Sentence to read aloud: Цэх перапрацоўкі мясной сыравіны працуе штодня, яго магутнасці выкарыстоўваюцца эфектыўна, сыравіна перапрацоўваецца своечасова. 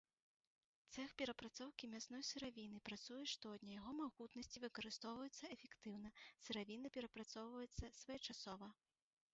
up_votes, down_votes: 2, 1